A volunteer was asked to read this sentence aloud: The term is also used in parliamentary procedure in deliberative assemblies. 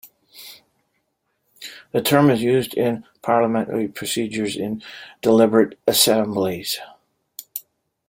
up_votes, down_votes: 0, 2